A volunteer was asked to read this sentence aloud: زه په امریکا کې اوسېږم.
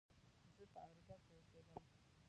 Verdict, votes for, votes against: rejected, 0, 2